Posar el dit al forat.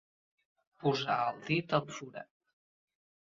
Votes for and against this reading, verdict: 2, 0, accepted